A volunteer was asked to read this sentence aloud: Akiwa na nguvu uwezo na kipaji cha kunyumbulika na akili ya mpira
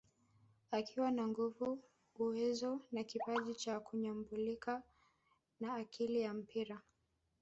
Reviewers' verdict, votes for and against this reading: rejected, 0, 2